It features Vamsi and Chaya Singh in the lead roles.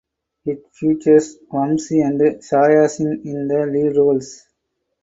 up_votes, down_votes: 2, 4